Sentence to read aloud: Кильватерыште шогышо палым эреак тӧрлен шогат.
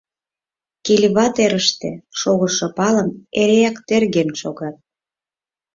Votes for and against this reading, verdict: 2, 4, rejected